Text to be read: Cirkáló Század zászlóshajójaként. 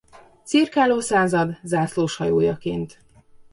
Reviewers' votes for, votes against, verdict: 2, 0, accepted